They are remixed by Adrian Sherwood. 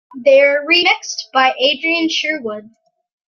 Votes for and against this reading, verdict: 2, 0, accepted